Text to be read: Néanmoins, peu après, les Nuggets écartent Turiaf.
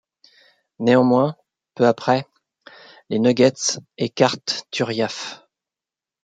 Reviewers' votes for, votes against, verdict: 2, 0, accepted